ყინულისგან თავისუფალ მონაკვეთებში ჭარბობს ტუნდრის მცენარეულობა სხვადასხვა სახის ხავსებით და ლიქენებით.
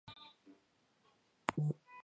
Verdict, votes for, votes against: rejected, 0, 2